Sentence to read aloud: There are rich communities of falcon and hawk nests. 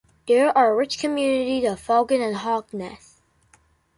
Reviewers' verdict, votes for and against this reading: rejected, 0, 2